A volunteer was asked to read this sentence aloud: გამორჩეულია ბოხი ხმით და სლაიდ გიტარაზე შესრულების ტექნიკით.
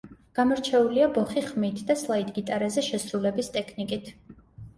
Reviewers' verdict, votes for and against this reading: accepted, 2, 0